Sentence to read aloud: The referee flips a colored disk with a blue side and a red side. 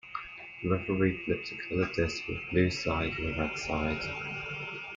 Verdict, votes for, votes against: rejected, 1, 2